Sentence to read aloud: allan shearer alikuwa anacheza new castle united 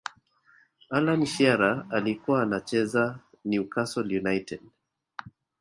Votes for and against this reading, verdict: 2, 0, accepted